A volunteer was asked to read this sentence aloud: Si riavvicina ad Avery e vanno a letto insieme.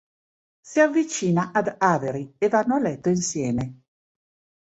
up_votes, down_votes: 2, 4